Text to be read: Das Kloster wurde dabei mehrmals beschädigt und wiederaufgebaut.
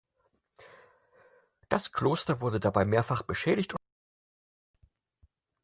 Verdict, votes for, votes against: rejected, 0, 4